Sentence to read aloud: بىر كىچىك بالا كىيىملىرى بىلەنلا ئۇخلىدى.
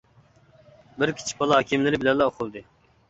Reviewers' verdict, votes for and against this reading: accepted, 2, 0